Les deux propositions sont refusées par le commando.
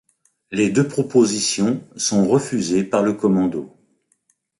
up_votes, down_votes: 2, 0